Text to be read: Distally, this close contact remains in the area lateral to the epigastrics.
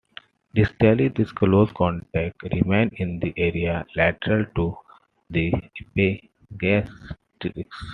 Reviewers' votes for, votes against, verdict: 0, 2, rejected